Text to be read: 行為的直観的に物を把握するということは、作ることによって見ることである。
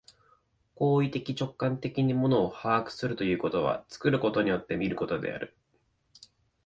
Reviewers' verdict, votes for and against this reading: accepted, 2, 0